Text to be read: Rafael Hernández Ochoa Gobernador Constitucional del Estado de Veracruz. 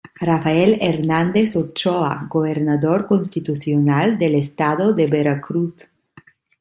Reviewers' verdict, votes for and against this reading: accepted, 2, 0